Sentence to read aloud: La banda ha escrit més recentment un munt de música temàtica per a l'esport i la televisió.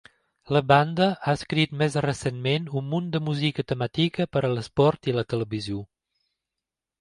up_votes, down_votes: 2, 1